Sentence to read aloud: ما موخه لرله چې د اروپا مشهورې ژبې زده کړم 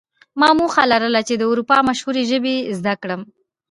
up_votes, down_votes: 2, 0